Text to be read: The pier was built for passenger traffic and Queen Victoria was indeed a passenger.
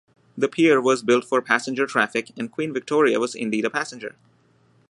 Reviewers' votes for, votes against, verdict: 2, 0, accepted